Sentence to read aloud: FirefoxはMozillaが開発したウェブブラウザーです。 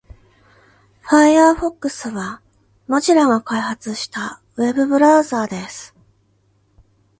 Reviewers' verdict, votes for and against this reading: accepted, 2, 1